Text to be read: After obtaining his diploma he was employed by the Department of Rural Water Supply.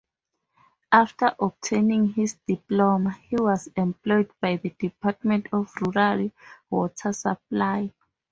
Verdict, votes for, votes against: accepted, 4, 0